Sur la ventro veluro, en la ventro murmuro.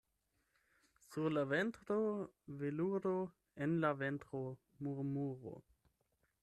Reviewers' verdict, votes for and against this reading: accepted, 8, 0